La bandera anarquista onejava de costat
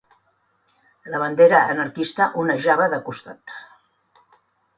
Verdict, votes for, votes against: accepted, 4, 0